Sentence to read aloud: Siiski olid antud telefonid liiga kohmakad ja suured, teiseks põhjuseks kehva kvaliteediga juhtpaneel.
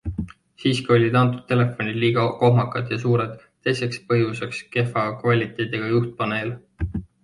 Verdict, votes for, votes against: accepted, 2, 0